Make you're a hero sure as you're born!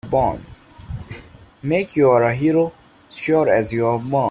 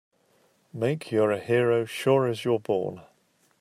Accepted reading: second